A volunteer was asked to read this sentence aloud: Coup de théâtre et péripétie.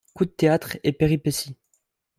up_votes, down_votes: 2, 0